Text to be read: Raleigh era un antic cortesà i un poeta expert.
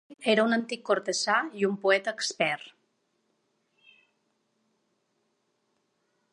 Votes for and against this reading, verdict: 0, 2, rejected